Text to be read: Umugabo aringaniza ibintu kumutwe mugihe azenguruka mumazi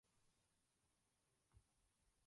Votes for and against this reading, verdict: 0, 2, rejected